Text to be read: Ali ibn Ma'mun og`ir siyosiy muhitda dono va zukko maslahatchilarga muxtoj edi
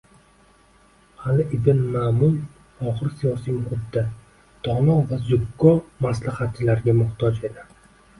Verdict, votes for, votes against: accepted, 2, 0